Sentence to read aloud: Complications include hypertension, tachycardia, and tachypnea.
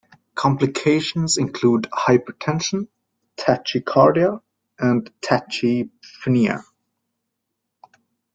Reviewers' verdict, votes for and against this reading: rejected, 0, 2